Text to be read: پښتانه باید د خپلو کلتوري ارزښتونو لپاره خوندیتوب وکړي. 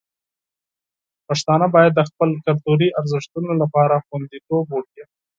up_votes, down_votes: 6, 0